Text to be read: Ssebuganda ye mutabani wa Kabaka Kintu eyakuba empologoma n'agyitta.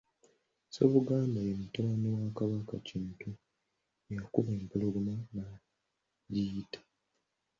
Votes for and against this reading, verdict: 1, 2, rejected